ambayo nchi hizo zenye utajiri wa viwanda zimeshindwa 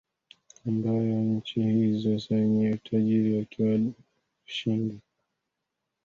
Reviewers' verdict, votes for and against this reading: rejected, 0, 3